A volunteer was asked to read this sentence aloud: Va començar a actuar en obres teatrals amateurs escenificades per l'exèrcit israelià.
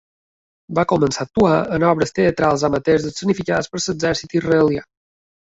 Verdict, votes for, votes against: accepted, 2, 1